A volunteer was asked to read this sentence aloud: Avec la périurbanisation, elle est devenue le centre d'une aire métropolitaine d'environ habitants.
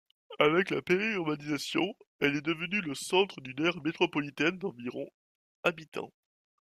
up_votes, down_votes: 1, 2